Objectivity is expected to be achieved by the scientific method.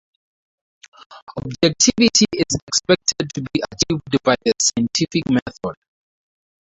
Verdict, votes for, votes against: rejected, 2, 2